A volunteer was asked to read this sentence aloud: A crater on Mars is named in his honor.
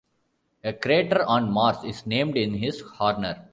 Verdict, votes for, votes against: rejected, 0, 2